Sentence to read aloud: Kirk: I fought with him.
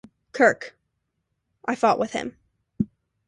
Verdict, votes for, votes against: accepted, 2, 0